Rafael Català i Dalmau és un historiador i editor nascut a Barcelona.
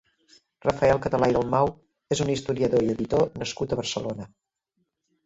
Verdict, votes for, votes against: rejected, 1, 2